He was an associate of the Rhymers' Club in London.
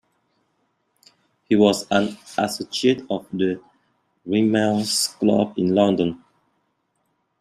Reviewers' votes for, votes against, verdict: 1, 2, rejected